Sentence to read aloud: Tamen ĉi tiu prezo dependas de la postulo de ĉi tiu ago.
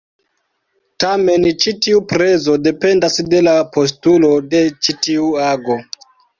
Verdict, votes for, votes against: rejected, 0, 2